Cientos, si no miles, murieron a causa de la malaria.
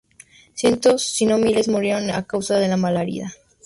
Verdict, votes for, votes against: accepted, 2, 0